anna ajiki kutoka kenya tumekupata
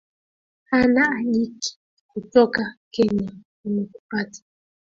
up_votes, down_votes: 0, 2